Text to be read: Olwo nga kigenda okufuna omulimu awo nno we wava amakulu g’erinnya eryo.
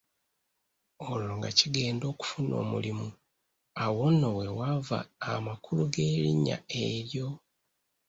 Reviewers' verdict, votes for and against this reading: accepted, 2, 0